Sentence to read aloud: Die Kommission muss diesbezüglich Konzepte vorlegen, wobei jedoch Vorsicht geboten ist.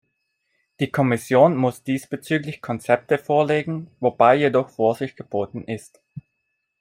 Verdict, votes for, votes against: accepted, 2, 0